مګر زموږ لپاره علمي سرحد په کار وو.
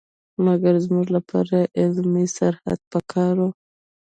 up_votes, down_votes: 1, 2